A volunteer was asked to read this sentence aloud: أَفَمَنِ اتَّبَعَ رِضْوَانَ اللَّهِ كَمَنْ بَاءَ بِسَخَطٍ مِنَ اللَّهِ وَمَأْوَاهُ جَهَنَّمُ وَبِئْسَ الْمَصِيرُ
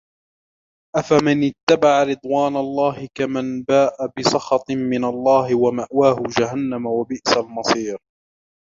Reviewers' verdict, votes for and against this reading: accepted, 2, 1